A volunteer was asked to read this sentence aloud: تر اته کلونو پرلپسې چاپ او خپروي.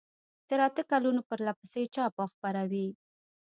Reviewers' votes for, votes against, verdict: 2, 0, accepted